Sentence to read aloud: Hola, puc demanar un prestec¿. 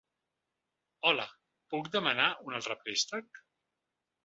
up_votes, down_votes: 0, 2